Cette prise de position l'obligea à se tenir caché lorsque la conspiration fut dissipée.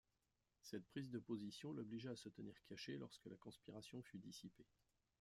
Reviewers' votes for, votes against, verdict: 2, 0, accepted